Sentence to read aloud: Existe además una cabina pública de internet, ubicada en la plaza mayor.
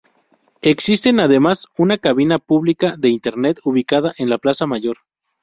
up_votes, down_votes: 2, 0